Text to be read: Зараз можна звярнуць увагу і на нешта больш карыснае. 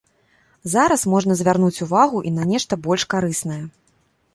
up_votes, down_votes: 2, 0